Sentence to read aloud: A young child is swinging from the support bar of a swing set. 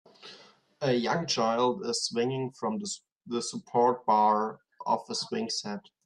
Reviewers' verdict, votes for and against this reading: rejected, 1, 2